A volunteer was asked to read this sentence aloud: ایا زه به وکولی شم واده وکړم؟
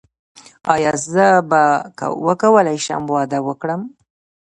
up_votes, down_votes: 1, 2